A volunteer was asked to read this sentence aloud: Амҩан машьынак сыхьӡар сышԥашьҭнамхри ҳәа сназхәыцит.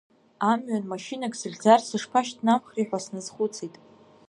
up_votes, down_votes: 2, 1